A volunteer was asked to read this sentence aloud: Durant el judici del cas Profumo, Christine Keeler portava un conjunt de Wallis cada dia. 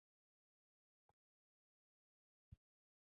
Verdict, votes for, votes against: rejected, 0, 4